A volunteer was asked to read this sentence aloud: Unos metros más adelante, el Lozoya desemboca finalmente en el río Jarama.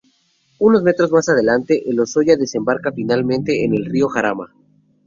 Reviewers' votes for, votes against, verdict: 0, 2, rejected